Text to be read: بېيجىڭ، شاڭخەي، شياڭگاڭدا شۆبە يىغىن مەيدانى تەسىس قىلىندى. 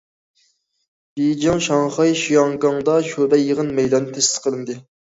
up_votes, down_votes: 1, 2